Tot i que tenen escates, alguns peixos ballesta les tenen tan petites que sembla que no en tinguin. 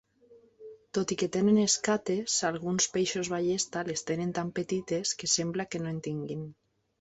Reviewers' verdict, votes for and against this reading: accepted, 2, 0